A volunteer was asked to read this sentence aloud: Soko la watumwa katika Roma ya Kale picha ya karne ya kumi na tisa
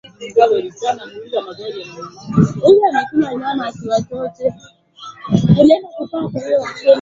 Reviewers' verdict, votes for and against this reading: rejected, 0, 3